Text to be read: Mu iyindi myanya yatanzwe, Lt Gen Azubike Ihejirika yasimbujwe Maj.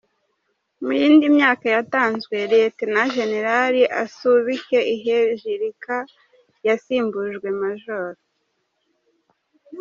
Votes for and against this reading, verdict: 0, 2, rejected